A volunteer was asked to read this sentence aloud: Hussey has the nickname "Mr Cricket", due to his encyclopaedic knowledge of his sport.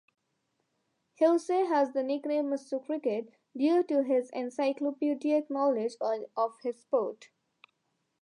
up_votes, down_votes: 1, 2